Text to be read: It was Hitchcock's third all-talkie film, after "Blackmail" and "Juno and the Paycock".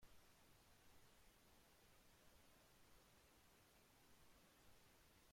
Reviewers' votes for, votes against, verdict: 0, 2, rejected